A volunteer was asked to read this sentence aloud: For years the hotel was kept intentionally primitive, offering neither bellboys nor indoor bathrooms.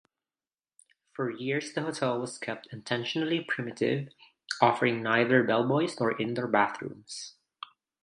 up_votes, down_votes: 2, 0